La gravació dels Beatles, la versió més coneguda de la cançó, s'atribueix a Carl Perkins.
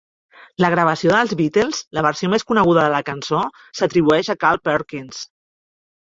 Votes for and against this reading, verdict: 3, 0, accepted